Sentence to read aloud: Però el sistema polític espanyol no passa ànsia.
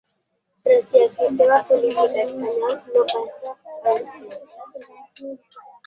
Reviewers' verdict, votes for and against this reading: rejected, 0, 2